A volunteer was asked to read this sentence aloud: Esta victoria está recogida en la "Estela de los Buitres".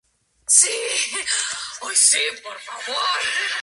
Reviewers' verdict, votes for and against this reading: rejected, 0, 4